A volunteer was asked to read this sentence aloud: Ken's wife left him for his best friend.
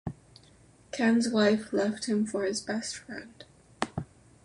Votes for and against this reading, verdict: 2, 0, accepted